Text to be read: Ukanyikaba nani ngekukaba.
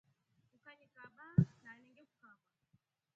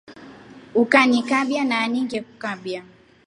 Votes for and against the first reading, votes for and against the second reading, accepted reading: 0, 2, 2, 0, second